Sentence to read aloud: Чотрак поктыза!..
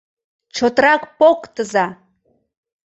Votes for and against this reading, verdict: 2, 0, accepted